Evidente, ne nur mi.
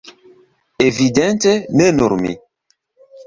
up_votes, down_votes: 1, 2